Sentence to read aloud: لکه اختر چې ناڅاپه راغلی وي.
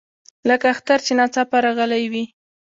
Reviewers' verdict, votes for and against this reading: rejected, 1, 2